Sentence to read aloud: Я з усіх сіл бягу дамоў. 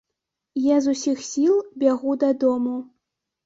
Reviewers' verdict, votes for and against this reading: rejected, 0, 2